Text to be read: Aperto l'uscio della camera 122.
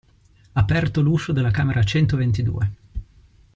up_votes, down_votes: 0, 2